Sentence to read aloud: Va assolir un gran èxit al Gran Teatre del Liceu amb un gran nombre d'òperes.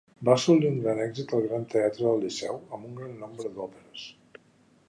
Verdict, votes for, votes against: rejected, 1, 2